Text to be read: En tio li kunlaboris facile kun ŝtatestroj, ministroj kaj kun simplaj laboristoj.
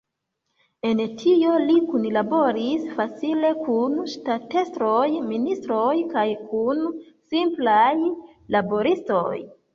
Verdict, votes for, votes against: accepted, 2, 0